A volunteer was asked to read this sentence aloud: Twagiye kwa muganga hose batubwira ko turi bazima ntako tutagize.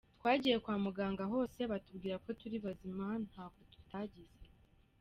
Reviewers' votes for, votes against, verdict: 3, 1, accepted